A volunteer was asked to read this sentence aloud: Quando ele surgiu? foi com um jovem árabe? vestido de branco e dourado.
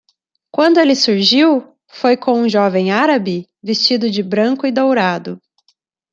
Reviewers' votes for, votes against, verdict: 2, 0, accepted